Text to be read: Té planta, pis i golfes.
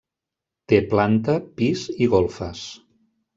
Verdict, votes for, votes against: accepted, 3, 0